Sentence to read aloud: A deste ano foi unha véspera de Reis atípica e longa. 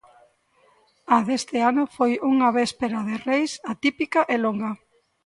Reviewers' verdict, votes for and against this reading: accepted, 2, 0